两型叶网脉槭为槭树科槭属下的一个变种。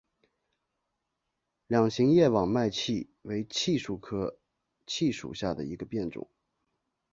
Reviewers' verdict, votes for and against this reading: accepted, 2, 1